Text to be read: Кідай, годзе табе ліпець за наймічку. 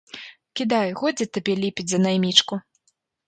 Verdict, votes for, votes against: accepted, 2, 1